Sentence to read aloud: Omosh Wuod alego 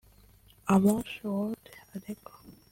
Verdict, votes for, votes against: rejected, 1, 2